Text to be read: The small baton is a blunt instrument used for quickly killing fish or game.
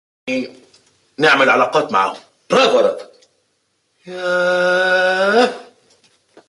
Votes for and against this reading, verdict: 0, 2, rejected